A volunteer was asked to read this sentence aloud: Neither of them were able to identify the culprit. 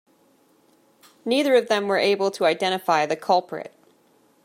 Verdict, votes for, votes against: accepted, 2, 0